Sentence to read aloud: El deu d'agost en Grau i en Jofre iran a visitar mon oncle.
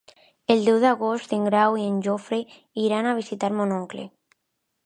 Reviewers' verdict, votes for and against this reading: accepted, 2, 0